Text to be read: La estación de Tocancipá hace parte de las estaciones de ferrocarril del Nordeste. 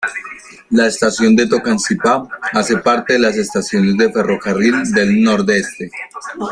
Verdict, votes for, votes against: accepted, 3, 2